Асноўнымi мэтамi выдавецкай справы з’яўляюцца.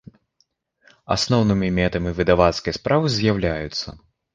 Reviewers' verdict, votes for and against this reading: rejected, 0, 2